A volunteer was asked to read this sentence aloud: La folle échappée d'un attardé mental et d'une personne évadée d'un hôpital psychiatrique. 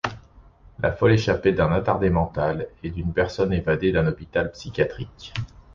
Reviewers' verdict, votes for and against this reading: accepted, 2, 0